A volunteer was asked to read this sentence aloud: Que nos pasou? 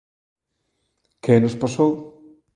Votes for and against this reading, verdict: 2, 1, accepted